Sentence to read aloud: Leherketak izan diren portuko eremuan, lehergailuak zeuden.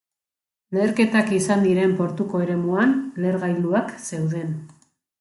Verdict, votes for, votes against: accepted, 5, 0